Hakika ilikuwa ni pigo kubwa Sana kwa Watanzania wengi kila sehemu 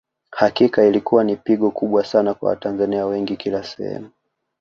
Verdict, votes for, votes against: accepted, 2, 1